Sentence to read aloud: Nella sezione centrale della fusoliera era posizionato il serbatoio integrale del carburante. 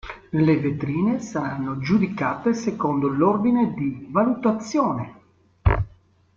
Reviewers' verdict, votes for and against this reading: rejected, 0, 2